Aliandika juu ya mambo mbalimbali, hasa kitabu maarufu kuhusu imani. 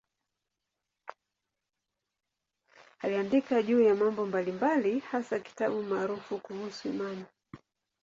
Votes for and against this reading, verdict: 2, 0, accepted